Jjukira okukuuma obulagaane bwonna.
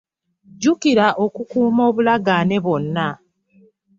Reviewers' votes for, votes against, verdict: 1, 2, rejected